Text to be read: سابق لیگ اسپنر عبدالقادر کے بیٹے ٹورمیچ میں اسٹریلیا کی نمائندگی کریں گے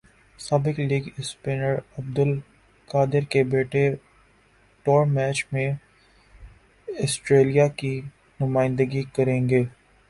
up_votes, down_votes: 0, 4